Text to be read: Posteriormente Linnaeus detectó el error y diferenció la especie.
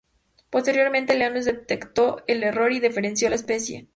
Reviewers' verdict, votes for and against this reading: accepted, 2, 0